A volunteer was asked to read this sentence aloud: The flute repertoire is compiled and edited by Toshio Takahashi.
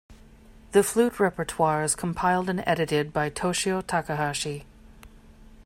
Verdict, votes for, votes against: accepted, 2, 0